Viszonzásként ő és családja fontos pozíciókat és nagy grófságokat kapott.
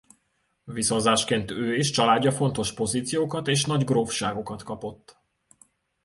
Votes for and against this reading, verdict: 2, 0, accepted